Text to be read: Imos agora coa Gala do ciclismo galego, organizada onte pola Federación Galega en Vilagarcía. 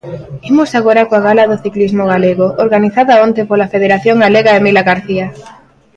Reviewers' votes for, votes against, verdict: 1, 2, rejected